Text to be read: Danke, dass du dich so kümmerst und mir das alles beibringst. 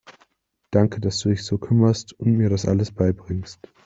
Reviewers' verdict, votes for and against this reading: accepted, 2, 0